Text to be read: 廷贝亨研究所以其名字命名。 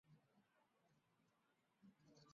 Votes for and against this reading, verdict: 0, 3, rejected